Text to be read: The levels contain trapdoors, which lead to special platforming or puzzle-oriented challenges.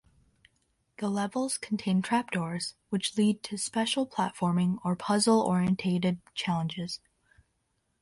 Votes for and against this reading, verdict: 1, 2, rejected